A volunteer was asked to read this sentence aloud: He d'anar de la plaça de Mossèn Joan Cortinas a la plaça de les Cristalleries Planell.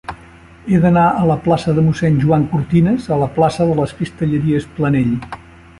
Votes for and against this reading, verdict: 1, 2, rejected